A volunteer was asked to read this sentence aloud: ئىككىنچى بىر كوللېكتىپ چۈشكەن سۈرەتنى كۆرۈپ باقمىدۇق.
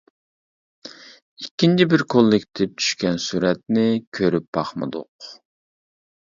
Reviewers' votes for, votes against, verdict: 2, 0, accepted